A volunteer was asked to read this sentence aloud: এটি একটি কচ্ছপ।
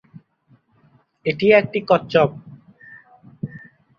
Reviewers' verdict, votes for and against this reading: rejected, 0, 4